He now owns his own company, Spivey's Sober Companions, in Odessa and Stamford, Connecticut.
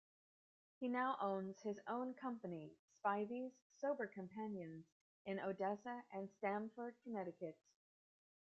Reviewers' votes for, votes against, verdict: 2, 0, accepted